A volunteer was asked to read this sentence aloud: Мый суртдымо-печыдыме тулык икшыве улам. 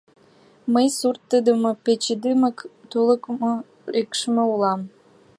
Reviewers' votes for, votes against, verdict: 1, 2, rejected